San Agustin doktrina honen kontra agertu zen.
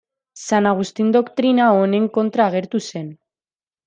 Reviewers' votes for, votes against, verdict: 2, 0, accepted